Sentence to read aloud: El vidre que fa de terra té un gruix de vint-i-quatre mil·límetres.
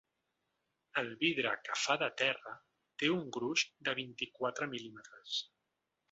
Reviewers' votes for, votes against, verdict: 2, 0, accepted